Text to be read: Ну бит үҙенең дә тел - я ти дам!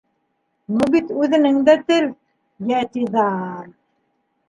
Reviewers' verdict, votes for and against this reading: rejected, 0, 2